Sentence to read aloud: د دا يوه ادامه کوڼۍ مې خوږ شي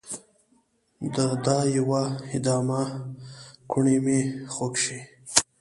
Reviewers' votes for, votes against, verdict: 1, 2, rejected